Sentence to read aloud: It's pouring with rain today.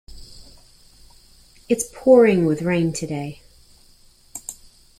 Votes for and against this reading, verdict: 2, 0, accepted